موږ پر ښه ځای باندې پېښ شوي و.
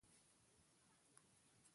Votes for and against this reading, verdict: 2, 1, accepted